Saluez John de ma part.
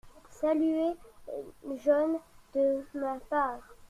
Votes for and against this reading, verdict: 0, 2, rejected